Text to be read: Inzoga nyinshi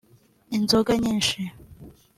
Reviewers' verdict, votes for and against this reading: accepted, 2, 0